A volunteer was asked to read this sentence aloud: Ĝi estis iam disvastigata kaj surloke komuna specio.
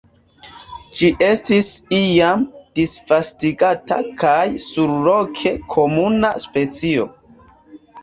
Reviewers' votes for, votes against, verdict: 2, 0, accepted